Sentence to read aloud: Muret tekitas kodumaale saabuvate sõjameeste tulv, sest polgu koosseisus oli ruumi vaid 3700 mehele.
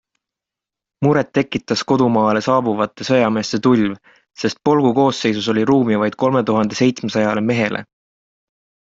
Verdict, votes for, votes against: rejected, 0, 2